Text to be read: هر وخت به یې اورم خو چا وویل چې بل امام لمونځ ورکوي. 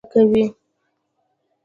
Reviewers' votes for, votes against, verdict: 1, 2, rejected